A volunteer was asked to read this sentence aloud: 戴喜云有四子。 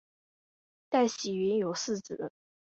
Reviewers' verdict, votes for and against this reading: accepted, 3, 0